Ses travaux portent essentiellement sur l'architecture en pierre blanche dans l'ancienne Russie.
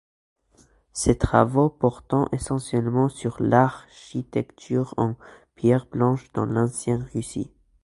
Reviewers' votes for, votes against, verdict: 0, 2, rejected